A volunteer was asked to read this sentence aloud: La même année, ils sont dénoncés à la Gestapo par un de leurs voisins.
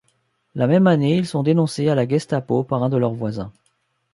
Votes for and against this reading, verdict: 2, 0, accepted